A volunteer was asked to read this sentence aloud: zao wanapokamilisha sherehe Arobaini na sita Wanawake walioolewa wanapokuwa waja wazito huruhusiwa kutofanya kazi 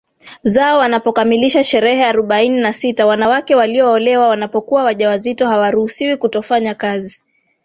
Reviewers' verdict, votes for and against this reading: rejected, 1, 2